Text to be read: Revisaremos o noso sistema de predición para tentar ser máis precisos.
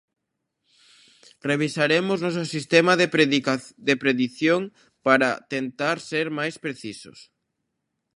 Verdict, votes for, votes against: rejected, 0, 2